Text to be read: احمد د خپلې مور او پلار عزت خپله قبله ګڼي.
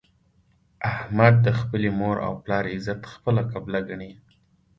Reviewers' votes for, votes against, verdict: 1, 2, rejected